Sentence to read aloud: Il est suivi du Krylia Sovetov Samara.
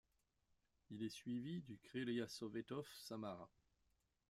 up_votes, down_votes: 2, 1